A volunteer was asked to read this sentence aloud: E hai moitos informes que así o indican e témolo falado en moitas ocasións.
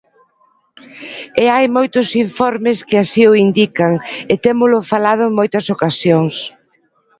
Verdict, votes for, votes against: accepted, 2, 1